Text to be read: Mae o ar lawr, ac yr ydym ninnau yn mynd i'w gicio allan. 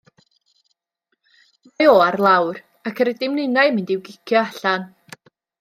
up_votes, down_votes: 1, 2